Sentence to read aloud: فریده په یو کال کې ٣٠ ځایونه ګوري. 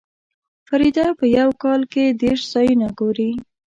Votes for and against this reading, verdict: 0, 2, rejected